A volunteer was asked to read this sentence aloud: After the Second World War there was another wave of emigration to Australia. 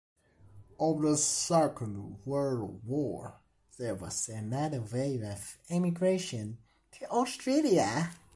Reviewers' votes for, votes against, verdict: 2, 1, accepted